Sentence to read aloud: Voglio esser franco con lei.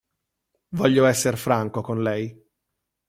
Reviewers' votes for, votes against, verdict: 2, 0, accepted